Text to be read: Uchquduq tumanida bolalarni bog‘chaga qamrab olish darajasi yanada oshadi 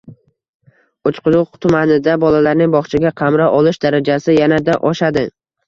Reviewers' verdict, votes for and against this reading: rejected, 1, 2